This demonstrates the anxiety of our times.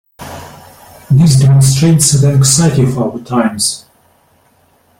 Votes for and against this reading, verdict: 1, 2, rejected